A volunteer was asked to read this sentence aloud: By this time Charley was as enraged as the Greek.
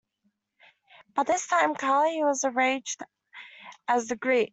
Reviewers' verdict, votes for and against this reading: rejected, 0, 2